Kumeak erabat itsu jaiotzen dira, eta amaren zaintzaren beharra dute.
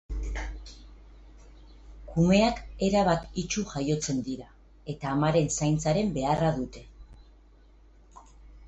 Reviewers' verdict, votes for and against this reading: accepted, 2, 0